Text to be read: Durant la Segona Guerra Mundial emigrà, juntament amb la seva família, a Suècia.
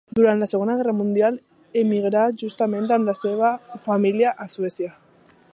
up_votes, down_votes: 2, 0